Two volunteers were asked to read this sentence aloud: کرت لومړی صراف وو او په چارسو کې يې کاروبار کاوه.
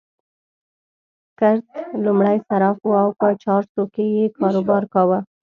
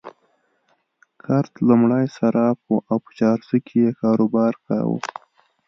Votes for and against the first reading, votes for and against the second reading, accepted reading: 1, 2, 2, 0, second